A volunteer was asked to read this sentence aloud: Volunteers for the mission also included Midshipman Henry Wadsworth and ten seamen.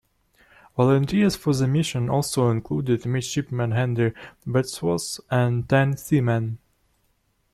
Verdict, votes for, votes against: accepted, 2, 0